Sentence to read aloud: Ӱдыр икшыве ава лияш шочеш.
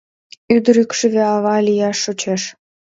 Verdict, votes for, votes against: accepted, 2, 0